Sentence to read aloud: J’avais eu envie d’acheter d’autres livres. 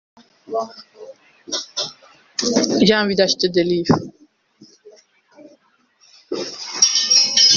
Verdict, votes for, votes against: rejected, 0, 2